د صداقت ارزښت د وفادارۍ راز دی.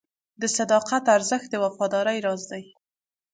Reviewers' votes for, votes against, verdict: 2, 0, accepted